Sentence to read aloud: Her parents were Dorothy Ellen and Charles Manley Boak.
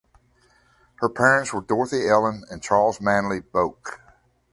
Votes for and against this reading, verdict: 2, 0, accepted